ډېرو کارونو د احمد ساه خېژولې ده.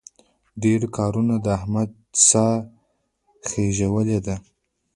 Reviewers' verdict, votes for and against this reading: rejected, 1, 2